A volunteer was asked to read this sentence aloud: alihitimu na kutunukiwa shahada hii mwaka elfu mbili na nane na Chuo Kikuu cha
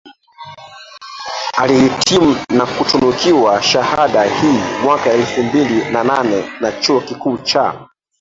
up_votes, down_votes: 1, 2